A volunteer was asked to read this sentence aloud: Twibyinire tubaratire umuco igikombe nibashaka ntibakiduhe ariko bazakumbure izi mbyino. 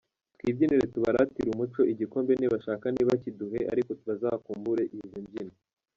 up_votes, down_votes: 0, 2